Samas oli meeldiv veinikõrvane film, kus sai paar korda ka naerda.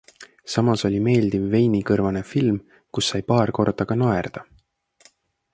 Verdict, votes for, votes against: accepted, 2, 0